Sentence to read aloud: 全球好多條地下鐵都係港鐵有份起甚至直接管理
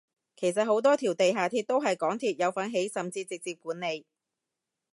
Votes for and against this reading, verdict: 0, 2, rejected